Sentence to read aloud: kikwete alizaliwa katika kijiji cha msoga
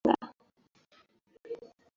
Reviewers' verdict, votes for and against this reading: rejected, 0, 2